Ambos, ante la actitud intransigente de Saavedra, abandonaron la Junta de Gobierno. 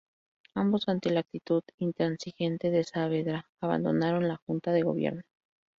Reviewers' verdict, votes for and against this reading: accepted, 2, 0